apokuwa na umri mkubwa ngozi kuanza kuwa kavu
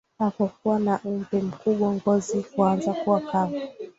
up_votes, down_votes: 0, 2